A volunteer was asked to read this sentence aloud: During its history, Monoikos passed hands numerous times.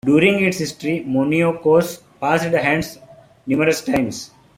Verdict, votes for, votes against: accepted, 2, 1